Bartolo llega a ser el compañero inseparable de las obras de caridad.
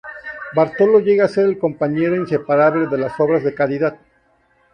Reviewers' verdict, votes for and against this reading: accepted, 2, 0